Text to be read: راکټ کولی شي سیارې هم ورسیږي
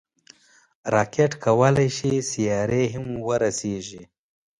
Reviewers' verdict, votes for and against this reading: accepted, 2, 0